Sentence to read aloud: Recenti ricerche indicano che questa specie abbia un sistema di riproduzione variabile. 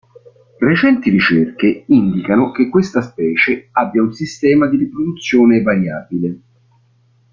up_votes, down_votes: 2, 0